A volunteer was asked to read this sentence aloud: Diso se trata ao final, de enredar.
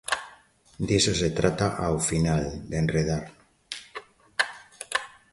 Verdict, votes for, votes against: accepted, 2, 0